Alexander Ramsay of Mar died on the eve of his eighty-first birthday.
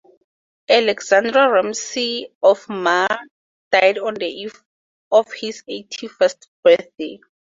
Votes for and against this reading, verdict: 4, 2, accepted